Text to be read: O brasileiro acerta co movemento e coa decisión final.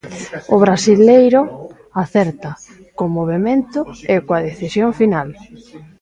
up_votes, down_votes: 1, 2